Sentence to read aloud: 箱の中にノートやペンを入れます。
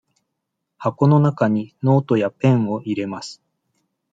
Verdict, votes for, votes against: accepted, 2, 0